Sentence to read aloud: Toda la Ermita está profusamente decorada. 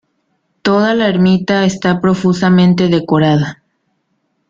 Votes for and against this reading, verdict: 2, 0, accepted